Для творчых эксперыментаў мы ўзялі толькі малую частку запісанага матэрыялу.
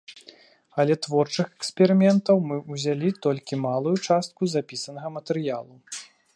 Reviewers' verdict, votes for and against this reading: rejected, 0, 2